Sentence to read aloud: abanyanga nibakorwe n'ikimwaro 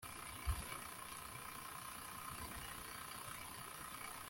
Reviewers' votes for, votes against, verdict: 0, 2, rejected